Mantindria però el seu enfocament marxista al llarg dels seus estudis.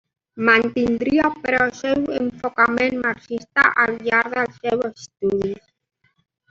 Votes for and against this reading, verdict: 1, 2, rejected